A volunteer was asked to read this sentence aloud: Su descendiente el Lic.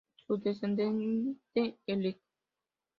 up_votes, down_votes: 0, 3